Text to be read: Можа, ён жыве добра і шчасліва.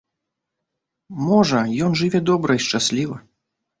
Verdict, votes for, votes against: accepted, 2, 0